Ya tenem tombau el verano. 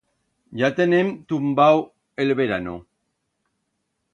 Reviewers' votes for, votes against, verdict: 1, 2, rejected